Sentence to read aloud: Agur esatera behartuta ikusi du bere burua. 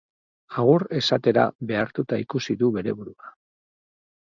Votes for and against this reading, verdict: 2, 0, accepted